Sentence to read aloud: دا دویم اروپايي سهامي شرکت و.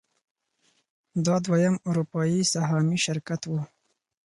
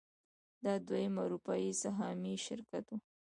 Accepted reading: first